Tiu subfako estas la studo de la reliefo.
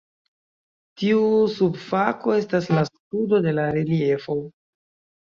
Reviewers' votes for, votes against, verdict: 0, 2, rejected